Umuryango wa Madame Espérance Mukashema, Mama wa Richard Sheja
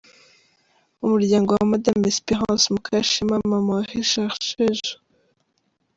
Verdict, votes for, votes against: accepted, 2, 1